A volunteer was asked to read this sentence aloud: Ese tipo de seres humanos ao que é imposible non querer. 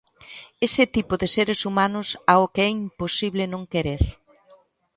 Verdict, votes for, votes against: accepted, 2, 0